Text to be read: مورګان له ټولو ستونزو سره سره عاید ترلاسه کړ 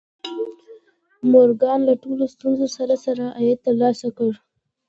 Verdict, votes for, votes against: accepted, 2, 1